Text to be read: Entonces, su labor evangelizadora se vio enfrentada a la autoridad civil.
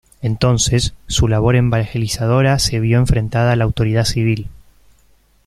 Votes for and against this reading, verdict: 2, 3, rejected